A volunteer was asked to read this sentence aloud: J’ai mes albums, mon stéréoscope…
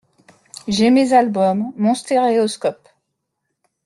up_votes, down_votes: 2, 0